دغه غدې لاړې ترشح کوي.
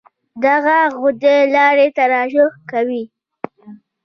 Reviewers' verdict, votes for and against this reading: accepted, 2, 1